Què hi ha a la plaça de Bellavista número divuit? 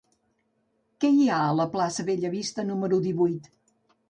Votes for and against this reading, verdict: 1, 2, rejected